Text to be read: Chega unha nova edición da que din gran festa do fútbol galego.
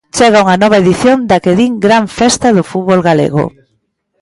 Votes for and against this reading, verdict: 2, 1, accepted